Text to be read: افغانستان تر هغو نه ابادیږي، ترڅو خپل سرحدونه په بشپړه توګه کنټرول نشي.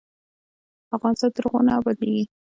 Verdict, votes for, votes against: accepted, 2, 0